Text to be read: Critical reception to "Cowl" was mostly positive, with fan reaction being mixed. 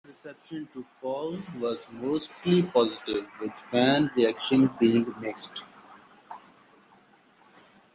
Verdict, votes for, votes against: rejected, 0, 2